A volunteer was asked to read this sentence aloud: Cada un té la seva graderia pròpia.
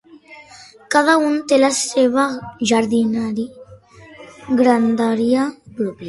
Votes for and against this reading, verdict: 0, 2, rejected